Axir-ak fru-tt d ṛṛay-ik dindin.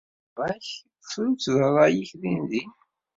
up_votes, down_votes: 1, 2